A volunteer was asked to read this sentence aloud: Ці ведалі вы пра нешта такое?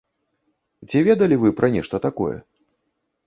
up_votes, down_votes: 2, 0